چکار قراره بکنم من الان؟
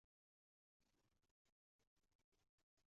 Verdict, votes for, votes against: rejected, 1, 2